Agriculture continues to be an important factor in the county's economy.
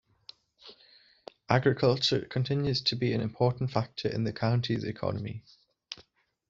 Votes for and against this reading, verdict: 2, 0, accepted